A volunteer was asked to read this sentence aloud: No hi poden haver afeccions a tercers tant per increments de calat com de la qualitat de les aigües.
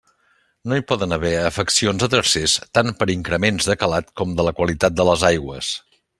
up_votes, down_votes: 2, 0